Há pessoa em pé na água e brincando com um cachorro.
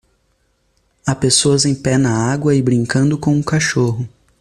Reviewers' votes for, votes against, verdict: 2, 1, accepted